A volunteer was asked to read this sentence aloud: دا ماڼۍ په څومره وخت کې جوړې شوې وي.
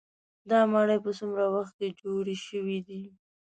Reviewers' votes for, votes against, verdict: 2, 0, accepted